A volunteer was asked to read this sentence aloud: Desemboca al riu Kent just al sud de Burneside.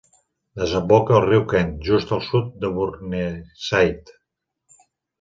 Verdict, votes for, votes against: accepted, 4, 0